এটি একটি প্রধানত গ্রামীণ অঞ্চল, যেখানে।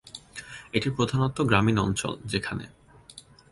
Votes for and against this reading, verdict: 0, 2, rejected